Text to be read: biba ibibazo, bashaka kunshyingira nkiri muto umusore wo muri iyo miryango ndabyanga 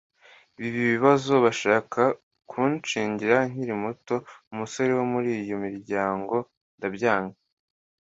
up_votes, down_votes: 2, 0